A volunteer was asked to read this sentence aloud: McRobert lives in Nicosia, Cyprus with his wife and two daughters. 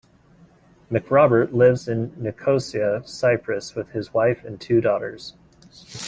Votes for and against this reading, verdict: 2, 0, accepted